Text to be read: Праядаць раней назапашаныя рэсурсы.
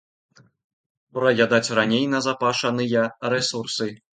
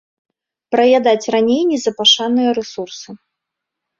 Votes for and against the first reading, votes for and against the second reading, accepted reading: 2, 0, 1, 2, first